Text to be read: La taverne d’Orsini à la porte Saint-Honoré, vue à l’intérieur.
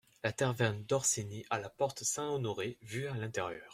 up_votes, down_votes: 2, 1